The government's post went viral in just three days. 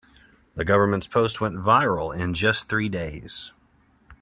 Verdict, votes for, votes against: accepted, 2, 0